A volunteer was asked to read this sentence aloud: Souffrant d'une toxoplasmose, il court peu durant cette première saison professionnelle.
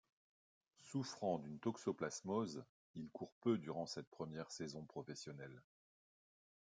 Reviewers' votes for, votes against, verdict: 2, 0, accepted